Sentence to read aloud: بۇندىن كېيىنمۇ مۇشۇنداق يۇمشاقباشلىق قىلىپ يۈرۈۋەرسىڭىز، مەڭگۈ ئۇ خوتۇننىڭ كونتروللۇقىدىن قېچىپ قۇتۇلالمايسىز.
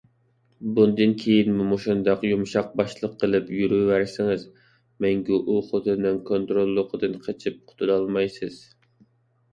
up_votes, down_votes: 2, 0